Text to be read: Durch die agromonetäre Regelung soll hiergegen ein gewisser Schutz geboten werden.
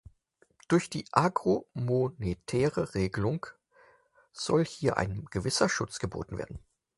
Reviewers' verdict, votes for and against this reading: accepted, 6, 2